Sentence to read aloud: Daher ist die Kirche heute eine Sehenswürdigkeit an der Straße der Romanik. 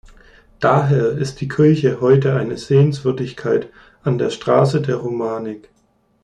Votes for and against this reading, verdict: 2, 0, accepted